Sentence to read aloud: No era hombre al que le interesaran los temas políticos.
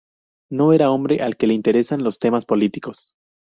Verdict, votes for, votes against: rejected, 0, 2